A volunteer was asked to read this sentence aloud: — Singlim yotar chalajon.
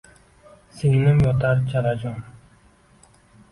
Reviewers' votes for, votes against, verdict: 2, 1, accepted